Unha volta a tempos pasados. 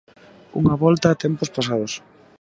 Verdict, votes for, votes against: rejected, 1, 2